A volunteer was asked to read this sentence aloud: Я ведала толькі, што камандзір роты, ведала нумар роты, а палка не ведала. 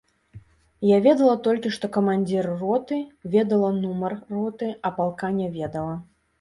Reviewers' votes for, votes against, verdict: 2, 0, accepted